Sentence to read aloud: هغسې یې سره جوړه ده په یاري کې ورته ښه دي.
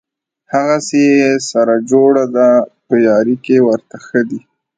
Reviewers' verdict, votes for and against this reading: rejected, 0, 2